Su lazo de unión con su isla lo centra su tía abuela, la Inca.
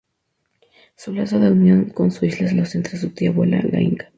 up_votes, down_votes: 0, 2